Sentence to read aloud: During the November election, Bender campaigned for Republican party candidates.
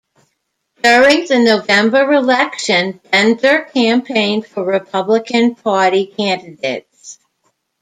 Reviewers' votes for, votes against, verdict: 1, 2, rejected